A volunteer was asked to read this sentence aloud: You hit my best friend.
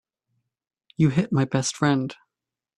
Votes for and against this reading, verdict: 2, 0, accepted